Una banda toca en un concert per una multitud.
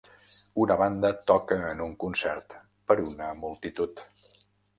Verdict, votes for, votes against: rejected, 1, 2